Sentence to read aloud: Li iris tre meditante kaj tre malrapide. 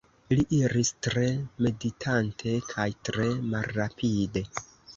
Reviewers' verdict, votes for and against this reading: rejected, 1, 2